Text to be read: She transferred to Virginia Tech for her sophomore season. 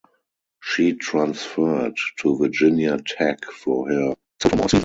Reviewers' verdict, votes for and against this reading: rejected, 0, 4